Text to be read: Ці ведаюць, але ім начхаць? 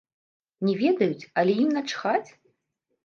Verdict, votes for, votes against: rejected, 0, 2